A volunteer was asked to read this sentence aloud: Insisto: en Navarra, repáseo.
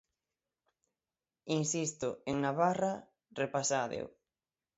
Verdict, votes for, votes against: rejected, 0, 6